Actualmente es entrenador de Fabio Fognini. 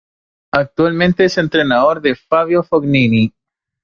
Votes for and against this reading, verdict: 1, 2, rejected